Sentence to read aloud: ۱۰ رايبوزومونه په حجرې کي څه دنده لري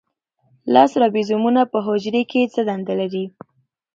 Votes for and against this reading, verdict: 0, 2, rejected